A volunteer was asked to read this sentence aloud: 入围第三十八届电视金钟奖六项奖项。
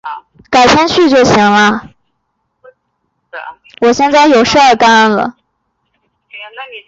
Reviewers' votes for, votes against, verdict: 1, 2, rejected